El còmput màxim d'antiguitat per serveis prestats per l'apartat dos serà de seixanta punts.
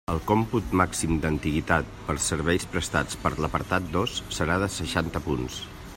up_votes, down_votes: 3, 0